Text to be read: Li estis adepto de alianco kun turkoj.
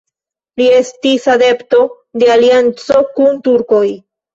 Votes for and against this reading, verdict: 2, 0, accepted